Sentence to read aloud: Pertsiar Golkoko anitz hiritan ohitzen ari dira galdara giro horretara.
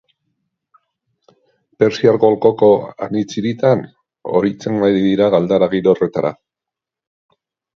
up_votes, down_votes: 2, 0